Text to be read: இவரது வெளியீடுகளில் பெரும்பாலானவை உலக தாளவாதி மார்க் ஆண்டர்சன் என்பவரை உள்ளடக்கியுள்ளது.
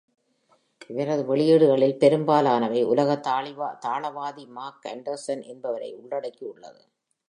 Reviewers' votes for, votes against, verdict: 0, 2, rejected